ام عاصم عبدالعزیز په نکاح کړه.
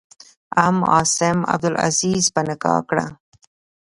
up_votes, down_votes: 1, 2